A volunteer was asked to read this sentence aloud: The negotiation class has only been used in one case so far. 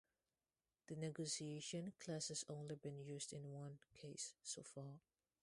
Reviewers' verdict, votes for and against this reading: rejected, 0, 2